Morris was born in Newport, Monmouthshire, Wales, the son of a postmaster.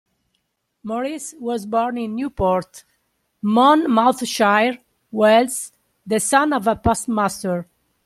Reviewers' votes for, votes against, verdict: 2, 1, accepted